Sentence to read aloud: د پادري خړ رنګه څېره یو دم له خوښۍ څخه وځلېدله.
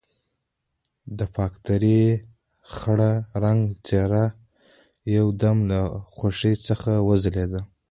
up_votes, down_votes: 1, 2